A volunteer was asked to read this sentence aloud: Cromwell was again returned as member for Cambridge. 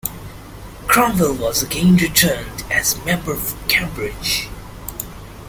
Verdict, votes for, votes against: accepted, 2, 0